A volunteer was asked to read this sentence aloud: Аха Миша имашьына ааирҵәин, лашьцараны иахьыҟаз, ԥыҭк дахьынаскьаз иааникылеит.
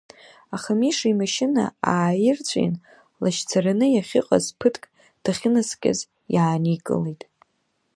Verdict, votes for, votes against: accepted, 2, 1